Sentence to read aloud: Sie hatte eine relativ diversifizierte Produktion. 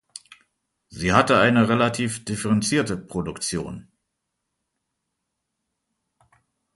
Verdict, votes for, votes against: rejected, 0, 2